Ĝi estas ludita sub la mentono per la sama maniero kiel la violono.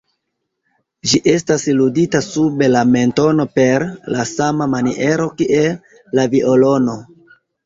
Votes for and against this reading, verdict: 2, 0, accepted